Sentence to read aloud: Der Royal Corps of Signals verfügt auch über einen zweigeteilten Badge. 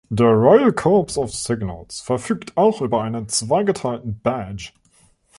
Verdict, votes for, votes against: accepted, 2, 0